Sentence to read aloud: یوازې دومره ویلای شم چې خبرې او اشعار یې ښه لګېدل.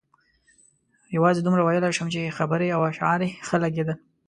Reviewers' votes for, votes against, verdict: 2, 0, accepted